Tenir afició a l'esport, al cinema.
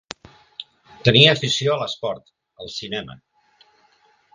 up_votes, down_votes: 1, 2